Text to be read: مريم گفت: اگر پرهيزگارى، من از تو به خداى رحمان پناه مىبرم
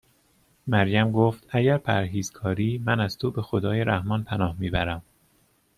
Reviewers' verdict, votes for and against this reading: accepted, 2, 0